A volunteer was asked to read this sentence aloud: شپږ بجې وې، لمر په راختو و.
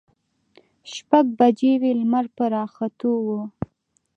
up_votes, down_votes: 1, 2